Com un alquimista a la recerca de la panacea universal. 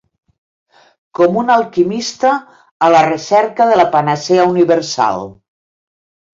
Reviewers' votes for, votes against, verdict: 3, 0, accepted